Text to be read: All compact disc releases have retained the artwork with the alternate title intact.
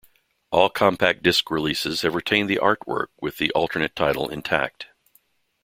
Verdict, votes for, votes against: accepted, 2, 1